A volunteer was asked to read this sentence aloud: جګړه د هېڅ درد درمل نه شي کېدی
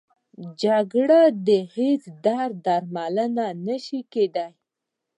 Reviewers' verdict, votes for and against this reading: rejected, 1, 2